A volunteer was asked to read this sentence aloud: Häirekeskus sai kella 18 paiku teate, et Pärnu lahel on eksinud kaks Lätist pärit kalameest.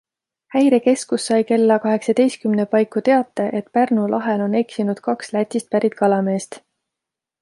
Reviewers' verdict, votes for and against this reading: rejected, 0, 2